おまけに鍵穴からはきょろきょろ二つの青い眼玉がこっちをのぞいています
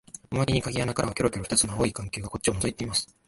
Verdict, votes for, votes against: rejected, 1, 2